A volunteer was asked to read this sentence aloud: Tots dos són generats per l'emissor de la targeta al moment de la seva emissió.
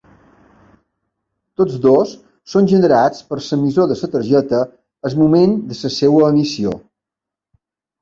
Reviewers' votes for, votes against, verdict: 2, 1, accepted